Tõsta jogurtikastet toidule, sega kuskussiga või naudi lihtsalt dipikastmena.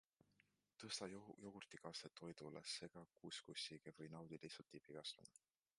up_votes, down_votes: 2, 0